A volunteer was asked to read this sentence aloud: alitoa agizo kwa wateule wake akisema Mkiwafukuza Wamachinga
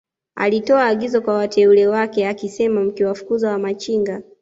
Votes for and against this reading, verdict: 0, 2, rejected